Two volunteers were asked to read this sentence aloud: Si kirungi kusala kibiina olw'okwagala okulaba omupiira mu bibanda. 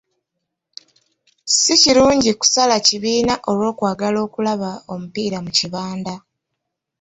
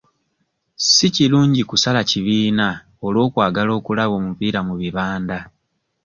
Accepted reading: second